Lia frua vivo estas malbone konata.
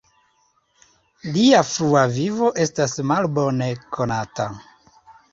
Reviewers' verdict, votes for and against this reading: accepted, 2, 0